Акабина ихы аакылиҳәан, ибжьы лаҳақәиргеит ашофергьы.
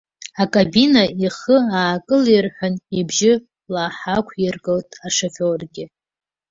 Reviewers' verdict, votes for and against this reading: rejected, 1, 2